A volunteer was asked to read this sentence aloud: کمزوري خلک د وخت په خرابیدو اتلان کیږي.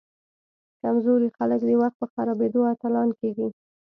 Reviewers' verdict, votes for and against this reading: accepted, 2, 0